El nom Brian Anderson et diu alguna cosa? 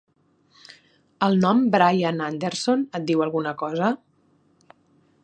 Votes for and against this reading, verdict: 5, 0, accepted